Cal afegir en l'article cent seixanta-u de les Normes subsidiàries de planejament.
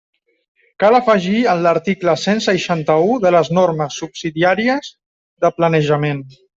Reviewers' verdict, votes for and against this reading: accepted, 2, 0